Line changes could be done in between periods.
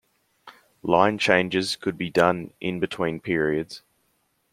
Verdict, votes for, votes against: accepted, 2, 1